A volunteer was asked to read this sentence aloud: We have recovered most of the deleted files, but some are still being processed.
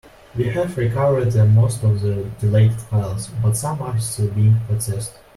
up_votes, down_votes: 2, 1